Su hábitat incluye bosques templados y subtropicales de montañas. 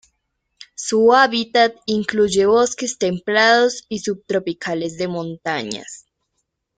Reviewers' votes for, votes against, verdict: 2, 0, accepted